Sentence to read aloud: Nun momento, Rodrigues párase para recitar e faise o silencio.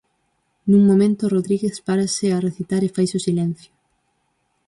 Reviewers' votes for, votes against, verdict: 0, 6, rejected